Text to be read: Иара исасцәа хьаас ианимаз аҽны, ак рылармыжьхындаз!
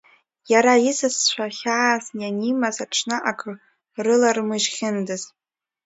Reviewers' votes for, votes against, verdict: 2, 0, accepted